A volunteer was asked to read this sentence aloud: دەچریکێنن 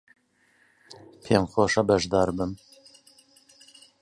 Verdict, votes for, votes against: rejected, 1, 2